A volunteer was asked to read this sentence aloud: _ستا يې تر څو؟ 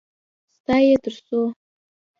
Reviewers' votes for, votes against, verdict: 2, 0, accepted